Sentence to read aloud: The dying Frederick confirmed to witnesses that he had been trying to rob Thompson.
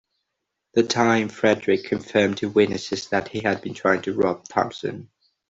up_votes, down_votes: 2, 0